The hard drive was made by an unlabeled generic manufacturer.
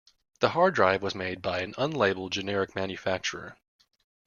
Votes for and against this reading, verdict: 2, 0, accepted